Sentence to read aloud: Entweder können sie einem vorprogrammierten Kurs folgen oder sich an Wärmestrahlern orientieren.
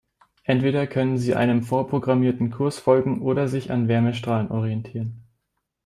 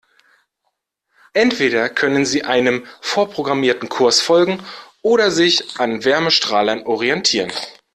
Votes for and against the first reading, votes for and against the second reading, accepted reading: 1, 2, 2, 0, second